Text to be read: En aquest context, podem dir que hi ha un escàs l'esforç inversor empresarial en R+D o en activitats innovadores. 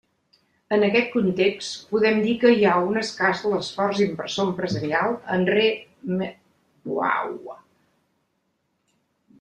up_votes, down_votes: 0, 2